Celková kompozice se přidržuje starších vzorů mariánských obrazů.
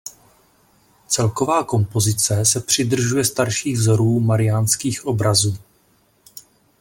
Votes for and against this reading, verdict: 2, 0, accepted